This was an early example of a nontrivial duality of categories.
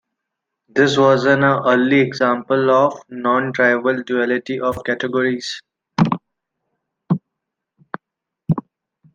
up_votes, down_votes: 1, 2